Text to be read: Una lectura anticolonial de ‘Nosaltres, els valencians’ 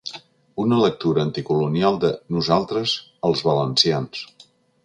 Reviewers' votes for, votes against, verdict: 3, 0, accepted